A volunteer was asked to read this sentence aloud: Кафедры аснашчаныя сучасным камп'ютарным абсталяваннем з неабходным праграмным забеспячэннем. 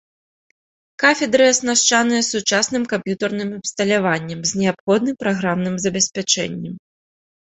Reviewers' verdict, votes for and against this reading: accepted, 2, 0